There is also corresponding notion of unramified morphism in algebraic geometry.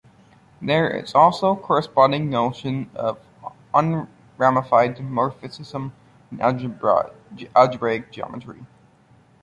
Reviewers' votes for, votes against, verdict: 0, 2, rejected